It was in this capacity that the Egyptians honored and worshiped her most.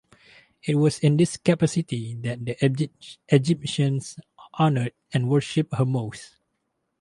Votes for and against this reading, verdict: 0, 2, rejected